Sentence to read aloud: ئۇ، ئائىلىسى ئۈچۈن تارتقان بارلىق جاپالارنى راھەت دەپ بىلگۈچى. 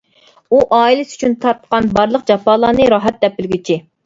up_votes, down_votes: 2, 0